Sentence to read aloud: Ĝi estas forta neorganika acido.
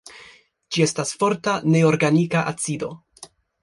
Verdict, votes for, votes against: accepted, 2, 0